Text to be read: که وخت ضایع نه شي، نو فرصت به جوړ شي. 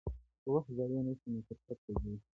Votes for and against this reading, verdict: 1, 2, rejected